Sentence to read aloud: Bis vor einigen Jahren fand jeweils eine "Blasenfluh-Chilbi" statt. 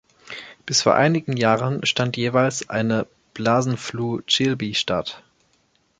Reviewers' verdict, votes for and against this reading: rejected, 1, 2